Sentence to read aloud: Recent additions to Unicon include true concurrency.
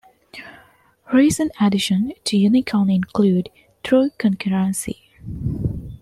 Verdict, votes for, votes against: accepted, 2, 0